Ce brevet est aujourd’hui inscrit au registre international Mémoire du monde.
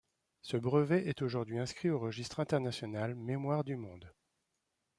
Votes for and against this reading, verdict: 2, 1, accepted